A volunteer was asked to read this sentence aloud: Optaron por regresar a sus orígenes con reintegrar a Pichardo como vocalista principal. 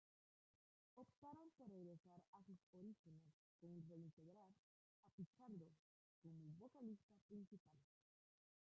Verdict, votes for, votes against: rejected, 0, 2